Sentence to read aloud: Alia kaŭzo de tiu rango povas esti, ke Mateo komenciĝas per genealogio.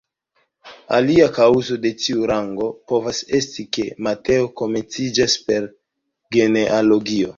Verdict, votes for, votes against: accepted, 2, 1